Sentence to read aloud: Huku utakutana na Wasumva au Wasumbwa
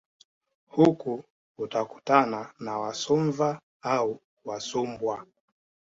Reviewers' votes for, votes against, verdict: 2, 0, accepted